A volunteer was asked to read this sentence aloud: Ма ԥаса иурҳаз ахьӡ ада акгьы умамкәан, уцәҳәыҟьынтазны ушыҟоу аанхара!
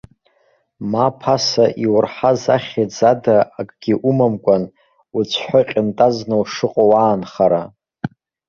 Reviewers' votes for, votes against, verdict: 1, 2, rejected